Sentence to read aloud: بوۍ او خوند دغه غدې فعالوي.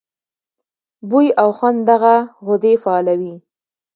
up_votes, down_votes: 2, 0